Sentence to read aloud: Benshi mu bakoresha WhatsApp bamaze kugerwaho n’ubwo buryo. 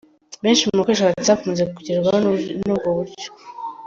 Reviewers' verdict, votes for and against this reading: rejected, 0, 2